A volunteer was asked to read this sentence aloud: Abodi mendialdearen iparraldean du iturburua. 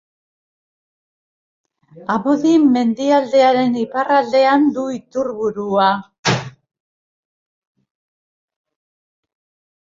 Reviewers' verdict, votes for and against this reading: rejected, 1, 2